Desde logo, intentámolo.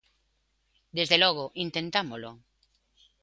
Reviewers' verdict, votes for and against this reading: accepted, 2, 0